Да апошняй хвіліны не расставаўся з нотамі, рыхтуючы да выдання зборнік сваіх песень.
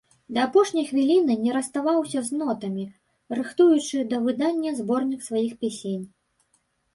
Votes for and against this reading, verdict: 0, 3, rejected